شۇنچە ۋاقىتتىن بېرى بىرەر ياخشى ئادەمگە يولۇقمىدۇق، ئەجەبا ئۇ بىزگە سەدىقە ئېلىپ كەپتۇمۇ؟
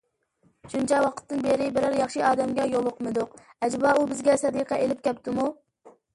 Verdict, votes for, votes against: accepted, 2, 0